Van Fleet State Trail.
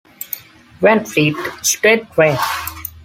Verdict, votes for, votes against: accepted, 2, 0